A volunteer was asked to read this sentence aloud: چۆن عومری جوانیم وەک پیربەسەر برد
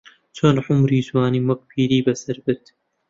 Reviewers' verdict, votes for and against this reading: rejected, 0, 2